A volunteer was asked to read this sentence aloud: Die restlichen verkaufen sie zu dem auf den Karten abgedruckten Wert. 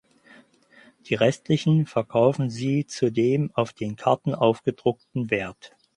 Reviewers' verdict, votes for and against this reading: rejected, 0, 4